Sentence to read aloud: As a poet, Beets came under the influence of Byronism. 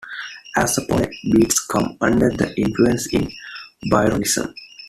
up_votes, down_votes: 1, 2